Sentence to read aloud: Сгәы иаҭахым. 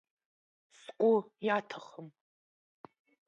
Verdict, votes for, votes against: accepted, 2, 0